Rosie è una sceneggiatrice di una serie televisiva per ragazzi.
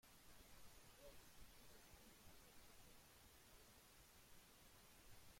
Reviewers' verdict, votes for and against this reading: rejected, 0, 2